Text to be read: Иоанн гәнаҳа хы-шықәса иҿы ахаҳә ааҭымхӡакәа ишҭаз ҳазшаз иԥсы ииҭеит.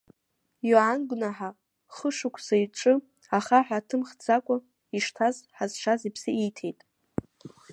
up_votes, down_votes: 1, 2